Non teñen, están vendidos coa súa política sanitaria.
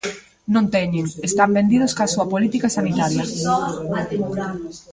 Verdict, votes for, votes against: rejected, 0, 2